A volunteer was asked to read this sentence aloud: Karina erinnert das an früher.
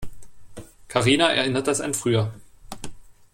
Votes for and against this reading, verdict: 2, 0, accepted